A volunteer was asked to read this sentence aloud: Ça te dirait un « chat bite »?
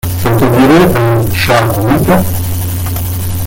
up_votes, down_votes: 0, 2